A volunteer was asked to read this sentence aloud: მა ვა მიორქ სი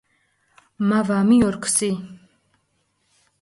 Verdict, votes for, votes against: rejected, 0, 4